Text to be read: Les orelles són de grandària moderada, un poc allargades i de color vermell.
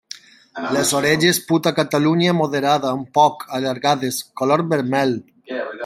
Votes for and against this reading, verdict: 0, 2, rejected